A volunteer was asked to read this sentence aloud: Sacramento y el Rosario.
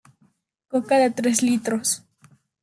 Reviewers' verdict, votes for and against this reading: rejected, 0, 2